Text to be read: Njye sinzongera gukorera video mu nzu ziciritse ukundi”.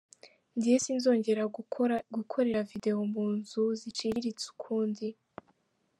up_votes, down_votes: 1, 2